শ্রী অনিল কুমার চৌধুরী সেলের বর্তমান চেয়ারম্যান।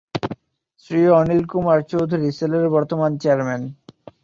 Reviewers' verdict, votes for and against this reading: accepted, 3, 0